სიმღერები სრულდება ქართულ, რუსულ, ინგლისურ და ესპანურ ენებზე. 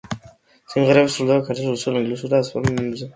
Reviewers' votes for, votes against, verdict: 0, 2, rejected